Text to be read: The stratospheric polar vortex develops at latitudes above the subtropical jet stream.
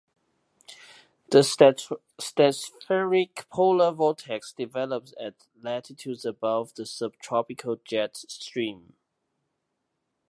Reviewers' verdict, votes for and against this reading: rejected, 1, 2